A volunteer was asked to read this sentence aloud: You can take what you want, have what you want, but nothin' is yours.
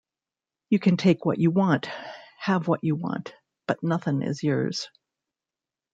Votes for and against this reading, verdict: 2, 0, accepted